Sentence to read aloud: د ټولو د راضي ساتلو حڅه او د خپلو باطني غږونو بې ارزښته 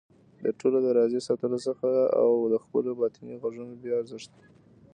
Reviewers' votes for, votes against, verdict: 1, 2, rejected